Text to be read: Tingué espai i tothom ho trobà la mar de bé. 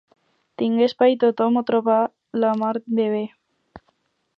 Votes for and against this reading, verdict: 4, 0, accepted